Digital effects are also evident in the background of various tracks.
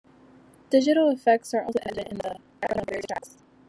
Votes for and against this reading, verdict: 0, 2, rejected